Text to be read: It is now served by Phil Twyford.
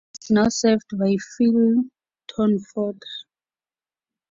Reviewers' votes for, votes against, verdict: 0, 2, rejected